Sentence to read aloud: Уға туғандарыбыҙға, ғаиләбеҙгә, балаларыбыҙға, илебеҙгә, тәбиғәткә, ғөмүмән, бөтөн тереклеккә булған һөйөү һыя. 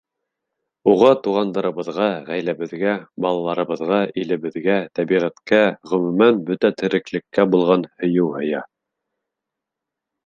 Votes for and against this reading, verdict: 3, 0, accepted